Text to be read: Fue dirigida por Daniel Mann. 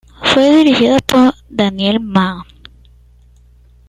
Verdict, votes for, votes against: accepted, 2, 0